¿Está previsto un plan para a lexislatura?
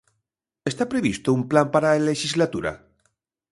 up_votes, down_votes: 2, 0